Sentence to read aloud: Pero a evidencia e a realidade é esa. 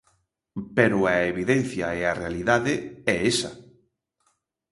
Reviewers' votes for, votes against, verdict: 2, 0, accepted